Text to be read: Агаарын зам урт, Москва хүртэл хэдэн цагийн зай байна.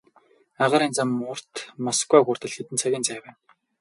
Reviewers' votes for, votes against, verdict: 2, 2, rejected